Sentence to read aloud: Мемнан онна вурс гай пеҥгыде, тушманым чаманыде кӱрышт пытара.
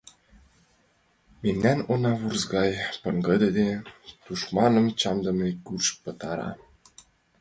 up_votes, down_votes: 0, 2